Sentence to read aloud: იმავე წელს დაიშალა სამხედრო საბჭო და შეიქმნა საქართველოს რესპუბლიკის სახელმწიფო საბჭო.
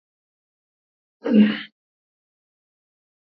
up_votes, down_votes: 0, 2